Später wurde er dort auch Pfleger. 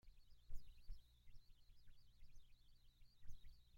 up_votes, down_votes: 0, 2